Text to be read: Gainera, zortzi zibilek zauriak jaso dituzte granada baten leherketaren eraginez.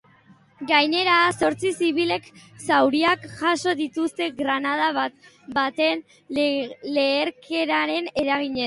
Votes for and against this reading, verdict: 0, 2, rejected